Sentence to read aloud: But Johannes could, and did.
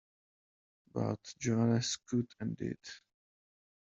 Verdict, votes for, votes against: accepted, 2, 0